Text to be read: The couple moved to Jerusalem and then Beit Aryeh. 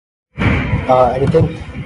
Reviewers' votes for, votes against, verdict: 0, 2, rejected